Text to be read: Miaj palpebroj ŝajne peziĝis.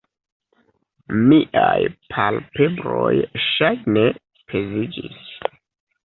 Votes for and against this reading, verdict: 0, 2, rejected